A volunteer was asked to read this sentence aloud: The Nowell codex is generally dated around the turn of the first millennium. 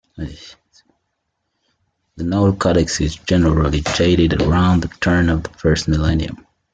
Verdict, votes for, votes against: accepted, 2, 1